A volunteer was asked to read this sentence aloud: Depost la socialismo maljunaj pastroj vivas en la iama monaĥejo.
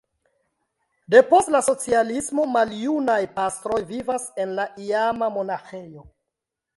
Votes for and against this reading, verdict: 1, 2, rejected